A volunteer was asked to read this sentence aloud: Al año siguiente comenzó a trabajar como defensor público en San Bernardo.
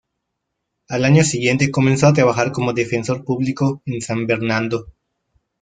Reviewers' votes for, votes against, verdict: 0, 2, rejected